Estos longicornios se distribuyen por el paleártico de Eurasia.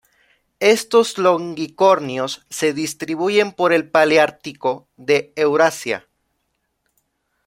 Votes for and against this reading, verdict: 0, 2, rejected